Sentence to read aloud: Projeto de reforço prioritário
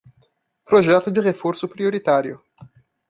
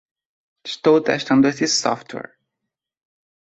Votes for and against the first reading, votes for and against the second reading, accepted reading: 2, 0, 0, 2, first